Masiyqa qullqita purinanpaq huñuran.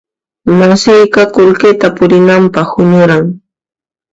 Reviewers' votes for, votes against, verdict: 1, 2, rejected